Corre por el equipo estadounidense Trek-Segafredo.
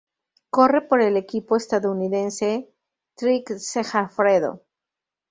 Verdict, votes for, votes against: rejected, 0, 2